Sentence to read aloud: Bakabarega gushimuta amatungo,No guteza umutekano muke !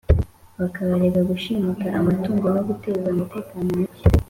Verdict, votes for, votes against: accepted, 2, 0